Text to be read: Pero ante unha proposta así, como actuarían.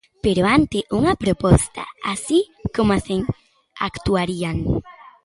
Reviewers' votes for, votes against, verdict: 0, 2, rejected